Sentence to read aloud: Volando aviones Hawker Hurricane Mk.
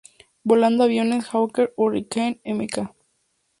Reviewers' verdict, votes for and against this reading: accepted, 2, 0